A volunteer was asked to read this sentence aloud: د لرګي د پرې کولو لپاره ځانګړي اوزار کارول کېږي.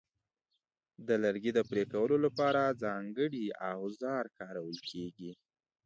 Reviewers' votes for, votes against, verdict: 2, 1, accepted